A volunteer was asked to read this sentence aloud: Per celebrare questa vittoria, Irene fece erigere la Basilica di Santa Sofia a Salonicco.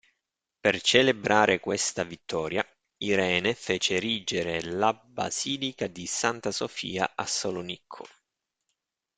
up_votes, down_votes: 1, 2